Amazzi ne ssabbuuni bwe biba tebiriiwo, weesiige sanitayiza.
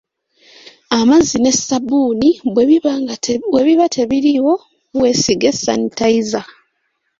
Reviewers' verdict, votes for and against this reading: rejected, 1, 3